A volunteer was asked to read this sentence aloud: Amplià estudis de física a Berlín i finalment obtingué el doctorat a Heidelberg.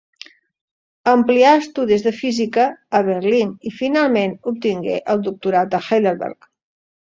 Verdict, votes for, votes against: accepted, 2, 1